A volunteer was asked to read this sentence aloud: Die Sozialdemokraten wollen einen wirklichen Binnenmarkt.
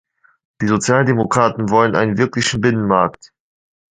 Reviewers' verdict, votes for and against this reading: accepted, 2, 0